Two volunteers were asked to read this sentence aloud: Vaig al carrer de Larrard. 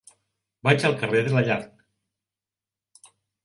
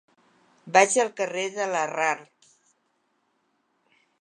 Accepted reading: second